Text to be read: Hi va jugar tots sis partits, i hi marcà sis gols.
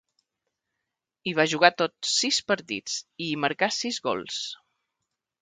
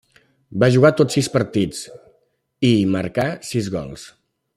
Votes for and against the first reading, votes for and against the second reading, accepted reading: 2, 0, 1, 2, first